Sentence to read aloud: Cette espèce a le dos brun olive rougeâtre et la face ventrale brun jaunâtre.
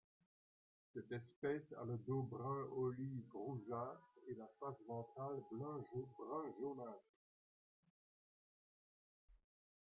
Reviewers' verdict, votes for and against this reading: rejected, 1, 2